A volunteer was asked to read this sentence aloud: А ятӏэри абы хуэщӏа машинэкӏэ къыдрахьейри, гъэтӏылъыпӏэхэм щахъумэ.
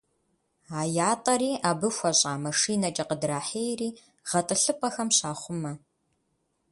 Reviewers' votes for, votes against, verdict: 2, 0, accepted